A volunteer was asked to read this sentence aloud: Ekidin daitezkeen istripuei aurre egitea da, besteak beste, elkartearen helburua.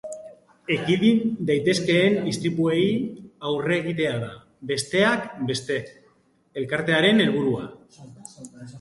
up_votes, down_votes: 0, 2